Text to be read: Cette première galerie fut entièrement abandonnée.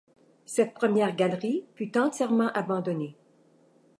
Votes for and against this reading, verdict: 2, 1, accepted